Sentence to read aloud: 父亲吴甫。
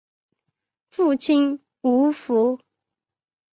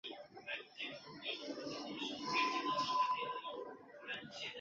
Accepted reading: first